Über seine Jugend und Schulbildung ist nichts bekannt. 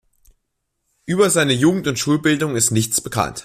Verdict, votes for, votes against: accepted, 2, 0